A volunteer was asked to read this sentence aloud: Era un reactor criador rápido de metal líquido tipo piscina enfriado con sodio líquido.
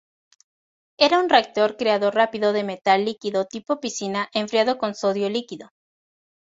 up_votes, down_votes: 2, 2